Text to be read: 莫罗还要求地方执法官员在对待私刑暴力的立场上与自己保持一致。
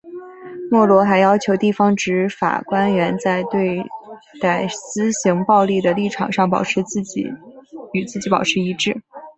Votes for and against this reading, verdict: 0, 4, rejected